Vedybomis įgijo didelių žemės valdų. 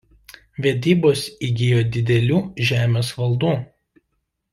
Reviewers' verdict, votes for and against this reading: rejected, 0, 2